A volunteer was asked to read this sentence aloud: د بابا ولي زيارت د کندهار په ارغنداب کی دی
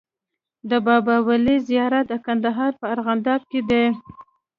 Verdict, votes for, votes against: accepted, 2, 0